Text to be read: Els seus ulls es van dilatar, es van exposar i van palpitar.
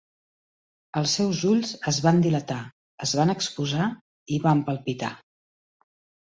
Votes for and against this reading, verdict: 3, 0, accepted